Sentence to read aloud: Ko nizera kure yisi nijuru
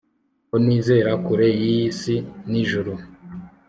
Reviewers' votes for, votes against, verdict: 2, 0, accepted